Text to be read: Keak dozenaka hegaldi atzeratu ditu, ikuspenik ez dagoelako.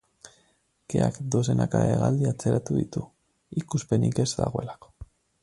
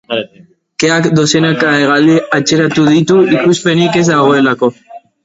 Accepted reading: first